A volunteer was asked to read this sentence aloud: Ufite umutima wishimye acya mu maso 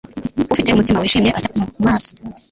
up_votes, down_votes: 1, 2